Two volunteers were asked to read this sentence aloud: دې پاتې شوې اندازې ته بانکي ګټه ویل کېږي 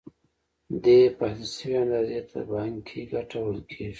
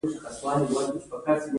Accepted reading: first